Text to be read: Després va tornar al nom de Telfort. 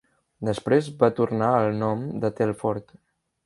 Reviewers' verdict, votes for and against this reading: accepted, 3, 0